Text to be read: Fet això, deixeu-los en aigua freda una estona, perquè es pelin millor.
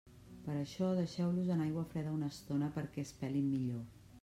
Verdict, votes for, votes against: rejected, 0, 2